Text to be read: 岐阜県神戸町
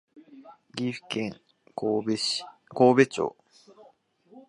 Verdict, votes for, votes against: rejected, 0, 2